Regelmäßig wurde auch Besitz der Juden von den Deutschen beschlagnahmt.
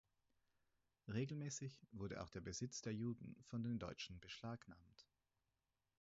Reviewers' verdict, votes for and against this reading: rejected, 0, 4